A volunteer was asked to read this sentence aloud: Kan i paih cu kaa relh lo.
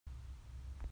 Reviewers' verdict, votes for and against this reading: rejected, 0, 2